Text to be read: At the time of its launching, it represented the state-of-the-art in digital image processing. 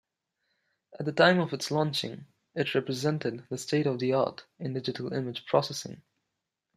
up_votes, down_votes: 2, 0